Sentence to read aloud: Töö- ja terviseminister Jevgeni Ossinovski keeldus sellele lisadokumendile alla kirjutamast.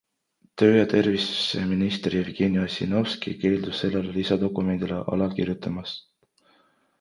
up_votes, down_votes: 3, 1